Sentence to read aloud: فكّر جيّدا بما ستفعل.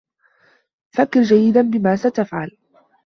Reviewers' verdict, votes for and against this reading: accepted, 2, 0